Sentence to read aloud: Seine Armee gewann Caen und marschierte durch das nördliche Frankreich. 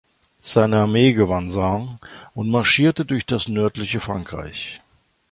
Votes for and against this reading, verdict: 1, 2, rejected